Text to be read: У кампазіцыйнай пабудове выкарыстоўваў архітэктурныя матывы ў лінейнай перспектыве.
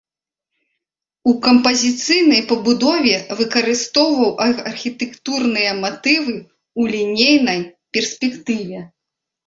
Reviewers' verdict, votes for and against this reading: accepted, 2, 0